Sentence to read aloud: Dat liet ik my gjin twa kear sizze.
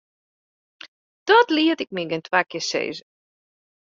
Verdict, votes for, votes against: accepted, 2, 0